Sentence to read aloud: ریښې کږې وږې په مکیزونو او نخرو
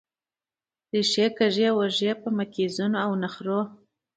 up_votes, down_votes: 2, 0